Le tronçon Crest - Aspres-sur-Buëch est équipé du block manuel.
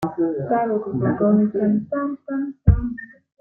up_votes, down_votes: 0, 2